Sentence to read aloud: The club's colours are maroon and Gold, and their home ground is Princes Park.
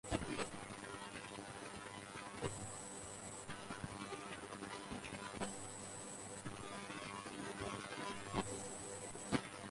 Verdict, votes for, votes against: rejected, 0, 4